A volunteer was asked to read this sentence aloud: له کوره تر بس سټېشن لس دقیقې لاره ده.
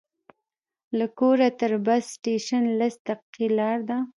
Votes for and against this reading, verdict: 0, 2, rejected